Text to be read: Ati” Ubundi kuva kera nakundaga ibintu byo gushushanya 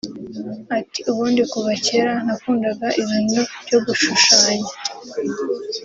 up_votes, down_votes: 2, 0